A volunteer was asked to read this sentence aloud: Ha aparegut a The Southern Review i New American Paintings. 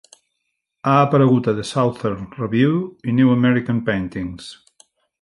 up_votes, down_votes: 3, 0